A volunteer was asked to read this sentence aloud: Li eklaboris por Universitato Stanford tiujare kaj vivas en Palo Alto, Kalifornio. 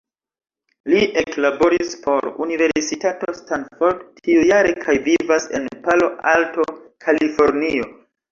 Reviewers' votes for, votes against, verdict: 1, 2, rejected